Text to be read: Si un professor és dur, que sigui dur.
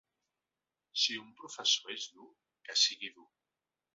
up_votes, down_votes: 1, 2